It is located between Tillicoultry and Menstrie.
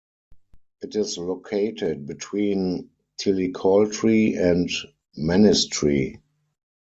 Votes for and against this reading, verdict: 2, 4, rejected